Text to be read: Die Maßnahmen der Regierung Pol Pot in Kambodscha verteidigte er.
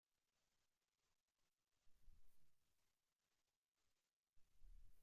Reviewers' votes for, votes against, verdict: 0, 2, rejected